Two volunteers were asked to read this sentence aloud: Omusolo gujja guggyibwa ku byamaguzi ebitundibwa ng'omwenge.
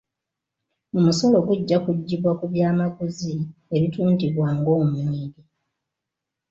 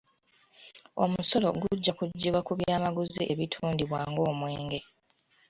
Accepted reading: second